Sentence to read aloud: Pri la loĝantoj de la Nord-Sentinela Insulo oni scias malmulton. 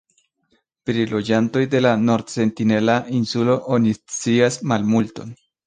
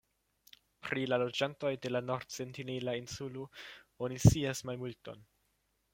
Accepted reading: second